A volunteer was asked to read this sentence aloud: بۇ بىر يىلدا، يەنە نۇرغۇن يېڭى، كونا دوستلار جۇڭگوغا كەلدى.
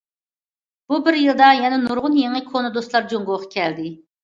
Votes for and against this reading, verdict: 2, 0, accepted